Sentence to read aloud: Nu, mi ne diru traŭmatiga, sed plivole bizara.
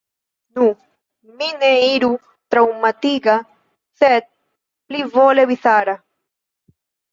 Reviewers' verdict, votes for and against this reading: rejected, 0, 2